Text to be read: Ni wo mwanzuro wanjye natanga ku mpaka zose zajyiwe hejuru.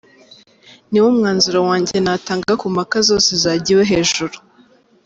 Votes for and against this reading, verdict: 2, 0, accepted